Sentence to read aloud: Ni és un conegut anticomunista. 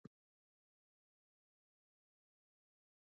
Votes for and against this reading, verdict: 0, 2, rejected